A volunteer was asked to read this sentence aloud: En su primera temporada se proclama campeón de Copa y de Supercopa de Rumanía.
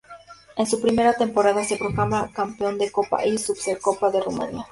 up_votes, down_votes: 2, 0